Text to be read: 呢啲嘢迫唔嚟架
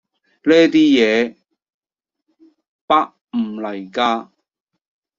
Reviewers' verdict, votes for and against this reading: rejected, 0, 2